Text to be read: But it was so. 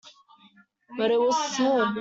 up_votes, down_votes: 1, 2